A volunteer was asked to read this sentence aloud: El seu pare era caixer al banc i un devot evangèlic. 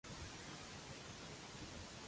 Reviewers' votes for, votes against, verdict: 0, 2, rejected